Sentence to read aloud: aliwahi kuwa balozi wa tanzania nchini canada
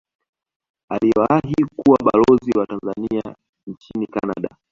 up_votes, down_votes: 2, 0